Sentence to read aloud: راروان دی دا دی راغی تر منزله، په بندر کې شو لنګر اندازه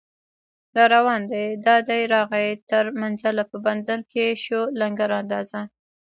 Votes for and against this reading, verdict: 1, 2, rejected